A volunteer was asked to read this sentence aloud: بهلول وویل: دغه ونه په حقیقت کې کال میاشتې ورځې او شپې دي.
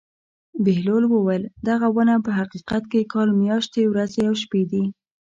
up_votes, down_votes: 1, 2